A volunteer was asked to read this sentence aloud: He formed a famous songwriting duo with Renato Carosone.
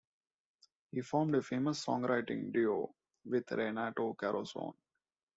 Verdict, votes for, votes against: accepted, 2, 0